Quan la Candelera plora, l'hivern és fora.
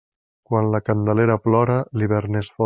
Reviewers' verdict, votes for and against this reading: rejected, 1, 2